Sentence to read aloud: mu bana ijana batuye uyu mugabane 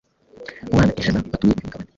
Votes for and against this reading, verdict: 1, 2, rejected